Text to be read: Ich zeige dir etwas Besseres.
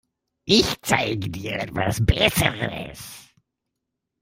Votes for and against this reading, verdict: 2, 0, accepted